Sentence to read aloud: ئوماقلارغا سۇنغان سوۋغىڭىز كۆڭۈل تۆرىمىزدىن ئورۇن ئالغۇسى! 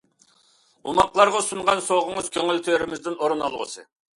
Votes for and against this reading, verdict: 2, 0, accepted